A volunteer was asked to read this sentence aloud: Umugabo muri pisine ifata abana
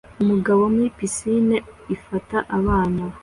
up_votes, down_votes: 2, 0